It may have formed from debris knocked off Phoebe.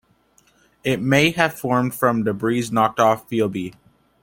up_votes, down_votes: 2, 0